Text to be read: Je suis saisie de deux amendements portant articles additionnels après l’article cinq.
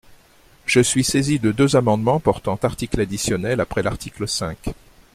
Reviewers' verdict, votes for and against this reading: accepted, 2, 0